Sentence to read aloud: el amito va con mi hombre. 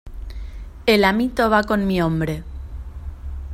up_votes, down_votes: 2, 0